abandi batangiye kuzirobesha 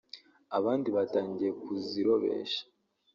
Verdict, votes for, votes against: rejected, 1, 2